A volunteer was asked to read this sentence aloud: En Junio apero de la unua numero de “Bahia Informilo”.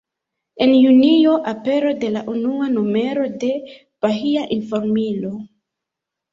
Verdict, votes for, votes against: rejected, 0, 2